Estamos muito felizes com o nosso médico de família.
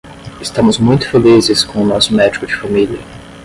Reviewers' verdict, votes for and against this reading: rejected, 5, 5